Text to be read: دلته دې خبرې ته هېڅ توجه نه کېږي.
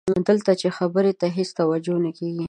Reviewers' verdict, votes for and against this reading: rejected, 0, 2